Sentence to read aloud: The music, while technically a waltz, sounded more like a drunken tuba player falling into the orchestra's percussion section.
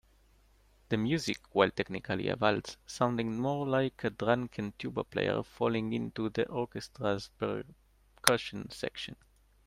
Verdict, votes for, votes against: rejected, 1, 2